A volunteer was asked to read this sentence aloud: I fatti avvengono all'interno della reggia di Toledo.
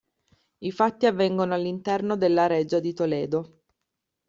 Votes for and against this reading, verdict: 2, 0, accepted